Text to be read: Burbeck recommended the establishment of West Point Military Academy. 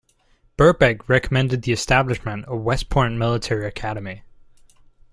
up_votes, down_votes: 2, 0